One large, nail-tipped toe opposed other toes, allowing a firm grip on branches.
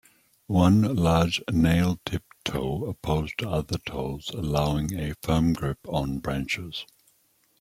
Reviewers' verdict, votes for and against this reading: accepted, 2, 0